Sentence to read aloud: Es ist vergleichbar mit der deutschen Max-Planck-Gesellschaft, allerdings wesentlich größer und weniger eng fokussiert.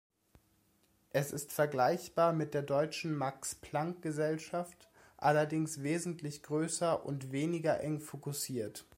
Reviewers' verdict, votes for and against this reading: accepted, 2, 0